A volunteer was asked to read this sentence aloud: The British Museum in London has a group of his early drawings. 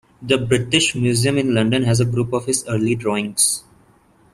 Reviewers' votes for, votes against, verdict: 2, 0, accepted